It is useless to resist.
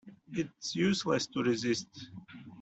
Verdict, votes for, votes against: rejected, 1, 2